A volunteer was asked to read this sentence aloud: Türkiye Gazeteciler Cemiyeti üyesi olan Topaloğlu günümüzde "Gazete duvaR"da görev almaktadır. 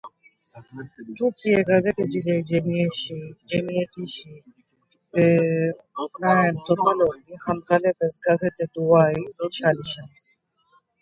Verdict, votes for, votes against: rejected, 0, 2